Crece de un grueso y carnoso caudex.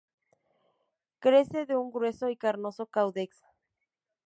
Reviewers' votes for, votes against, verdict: 6, 0, accepted